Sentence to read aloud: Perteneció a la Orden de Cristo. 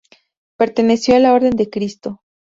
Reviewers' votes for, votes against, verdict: 4, 0, accepted